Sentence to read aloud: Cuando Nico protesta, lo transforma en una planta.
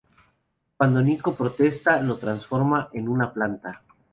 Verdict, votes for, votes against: accepted, 2, 0